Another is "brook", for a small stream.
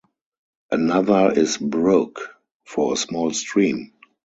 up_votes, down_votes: 2, 0